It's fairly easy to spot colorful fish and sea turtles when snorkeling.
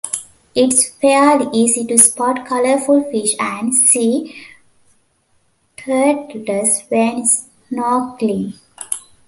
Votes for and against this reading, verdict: 1, 2, rejected